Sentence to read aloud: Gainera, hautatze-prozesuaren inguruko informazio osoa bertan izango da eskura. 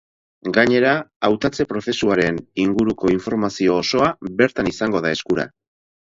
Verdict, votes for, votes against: accepted, 4, 0